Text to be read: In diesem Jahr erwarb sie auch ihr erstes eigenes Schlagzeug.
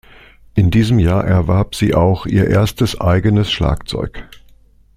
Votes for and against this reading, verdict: 2, 0, accepted